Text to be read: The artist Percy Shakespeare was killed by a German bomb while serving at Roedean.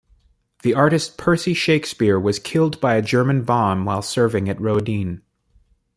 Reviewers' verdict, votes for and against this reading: accepted, 2, 1